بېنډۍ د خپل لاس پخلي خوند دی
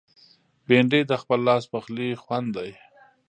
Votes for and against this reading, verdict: 2, 0, accepted